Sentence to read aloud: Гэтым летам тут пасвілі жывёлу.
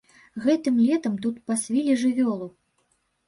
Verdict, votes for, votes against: rejected, 0, 2